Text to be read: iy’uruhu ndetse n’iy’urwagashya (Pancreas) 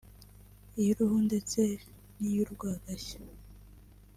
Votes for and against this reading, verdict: 2, 1, accepted